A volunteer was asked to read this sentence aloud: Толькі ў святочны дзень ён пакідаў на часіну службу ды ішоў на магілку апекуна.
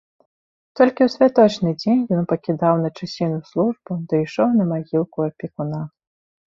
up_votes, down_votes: 2, 0